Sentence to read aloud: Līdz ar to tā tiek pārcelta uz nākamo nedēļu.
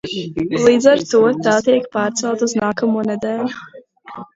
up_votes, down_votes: 1, 2